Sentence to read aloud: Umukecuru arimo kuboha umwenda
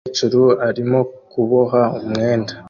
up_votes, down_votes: 2, 0